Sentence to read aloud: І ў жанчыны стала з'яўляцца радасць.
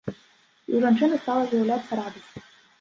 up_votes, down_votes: 2, 0